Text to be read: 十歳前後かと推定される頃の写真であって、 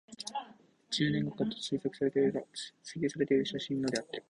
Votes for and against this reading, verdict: 1, 2, rejected